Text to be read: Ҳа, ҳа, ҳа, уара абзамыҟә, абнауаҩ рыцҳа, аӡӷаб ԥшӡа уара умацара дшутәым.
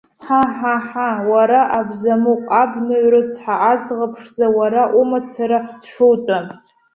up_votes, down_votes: 0, 2